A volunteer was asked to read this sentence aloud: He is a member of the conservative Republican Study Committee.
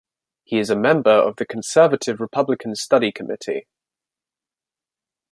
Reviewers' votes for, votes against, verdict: 2, 0, accepted